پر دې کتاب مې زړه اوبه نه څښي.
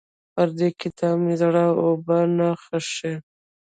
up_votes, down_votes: 2, 0